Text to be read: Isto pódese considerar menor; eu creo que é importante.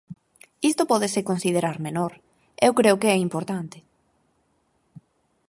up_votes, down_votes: 4, 0